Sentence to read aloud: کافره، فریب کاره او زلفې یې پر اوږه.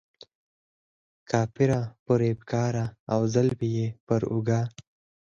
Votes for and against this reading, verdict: 4, 2, accepted